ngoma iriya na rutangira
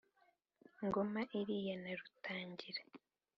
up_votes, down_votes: 3, 0